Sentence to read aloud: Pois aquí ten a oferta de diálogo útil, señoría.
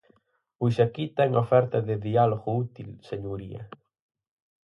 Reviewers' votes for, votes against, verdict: 4, 0, accepted